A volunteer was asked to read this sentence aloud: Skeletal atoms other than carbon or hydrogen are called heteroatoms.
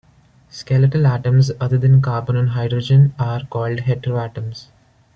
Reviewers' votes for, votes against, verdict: 2, 0, accepted